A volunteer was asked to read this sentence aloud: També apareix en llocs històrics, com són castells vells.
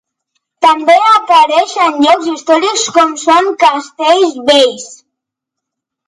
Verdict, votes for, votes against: accepted, 2, 1